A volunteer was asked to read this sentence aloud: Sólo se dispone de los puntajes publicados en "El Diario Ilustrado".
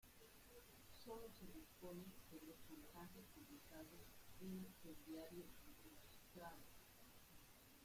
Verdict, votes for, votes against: rejected, 0, 2